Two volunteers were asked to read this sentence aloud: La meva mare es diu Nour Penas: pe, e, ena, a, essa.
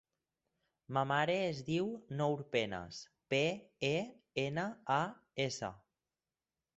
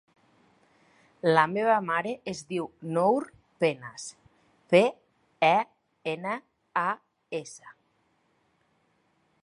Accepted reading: second